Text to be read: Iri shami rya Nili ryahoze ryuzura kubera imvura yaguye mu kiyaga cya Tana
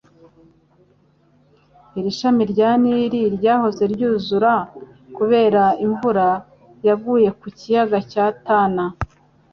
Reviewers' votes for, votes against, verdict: 2, 0, accepted